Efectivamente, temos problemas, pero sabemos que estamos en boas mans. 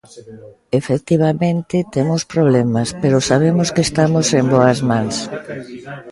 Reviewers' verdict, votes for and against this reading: rejected, 0, 2